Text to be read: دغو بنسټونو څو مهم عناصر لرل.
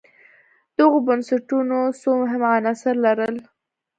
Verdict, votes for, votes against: accepted, 2, 0